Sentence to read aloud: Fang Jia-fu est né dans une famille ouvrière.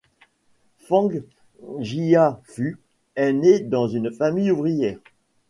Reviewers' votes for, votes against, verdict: 1, 2, rejected